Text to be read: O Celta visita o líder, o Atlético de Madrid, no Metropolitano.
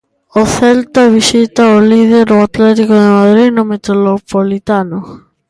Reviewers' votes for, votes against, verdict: 1, 2, rejected